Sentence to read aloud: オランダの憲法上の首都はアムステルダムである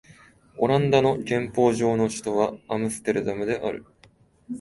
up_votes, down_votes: 2, 0